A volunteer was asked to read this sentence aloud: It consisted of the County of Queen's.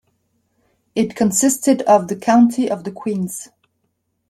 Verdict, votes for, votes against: rejected, 0, 2